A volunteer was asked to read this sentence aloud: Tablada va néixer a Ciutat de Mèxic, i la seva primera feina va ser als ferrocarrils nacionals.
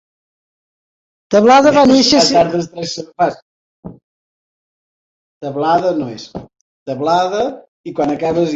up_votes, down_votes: 0, 3